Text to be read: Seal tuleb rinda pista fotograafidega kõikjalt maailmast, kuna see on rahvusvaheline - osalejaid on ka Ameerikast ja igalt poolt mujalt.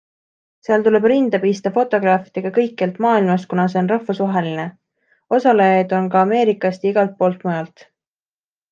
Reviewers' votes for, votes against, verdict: 2, 0, accepted